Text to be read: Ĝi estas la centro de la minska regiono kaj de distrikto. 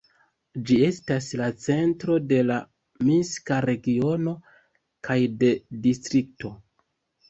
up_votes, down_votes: 2, 0